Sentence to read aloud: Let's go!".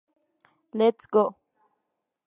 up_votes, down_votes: 2, 0